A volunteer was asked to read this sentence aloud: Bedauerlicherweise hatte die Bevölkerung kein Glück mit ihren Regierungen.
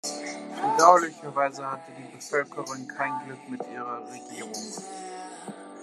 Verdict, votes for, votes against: rejected, 1, 2